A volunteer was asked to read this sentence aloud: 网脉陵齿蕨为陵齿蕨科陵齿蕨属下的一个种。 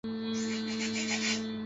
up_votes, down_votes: 0, 4